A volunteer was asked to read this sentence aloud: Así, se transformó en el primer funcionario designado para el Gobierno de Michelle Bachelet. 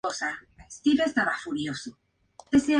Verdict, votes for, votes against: rejected, 0, 2